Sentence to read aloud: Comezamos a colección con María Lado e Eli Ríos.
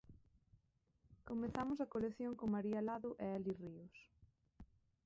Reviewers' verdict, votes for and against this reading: rejected, 0, 2